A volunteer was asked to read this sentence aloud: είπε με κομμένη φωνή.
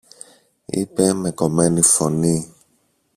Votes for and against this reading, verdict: 0, 2, rejected